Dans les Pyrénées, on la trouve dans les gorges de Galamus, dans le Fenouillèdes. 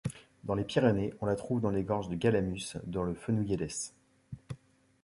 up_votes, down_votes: 0, 2